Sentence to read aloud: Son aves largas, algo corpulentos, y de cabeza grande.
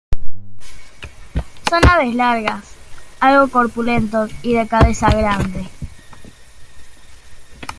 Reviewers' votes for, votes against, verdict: 0, 2, rejected